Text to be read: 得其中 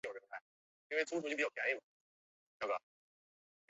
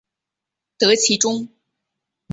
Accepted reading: second